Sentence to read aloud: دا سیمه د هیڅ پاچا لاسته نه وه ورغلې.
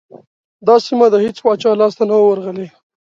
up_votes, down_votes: 3, 0